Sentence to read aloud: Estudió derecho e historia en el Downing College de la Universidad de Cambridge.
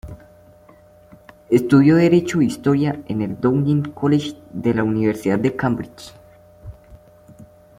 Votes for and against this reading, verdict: 2, 1, accepted